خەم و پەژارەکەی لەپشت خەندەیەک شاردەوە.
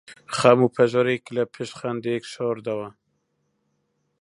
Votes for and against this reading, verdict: 1, 2, rejected